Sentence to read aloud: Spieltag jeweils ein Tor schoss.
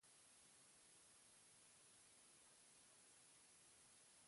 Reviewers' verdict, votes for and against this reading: rejected, 0, 4